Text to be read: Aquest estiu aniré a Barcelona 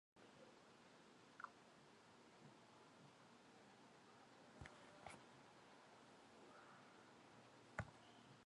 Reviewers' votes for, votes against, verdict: 1, 2, rejected